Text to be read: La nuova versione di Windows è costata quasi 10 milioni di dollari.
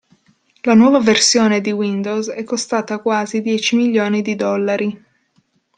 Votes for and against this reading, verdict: 0, 2, rejected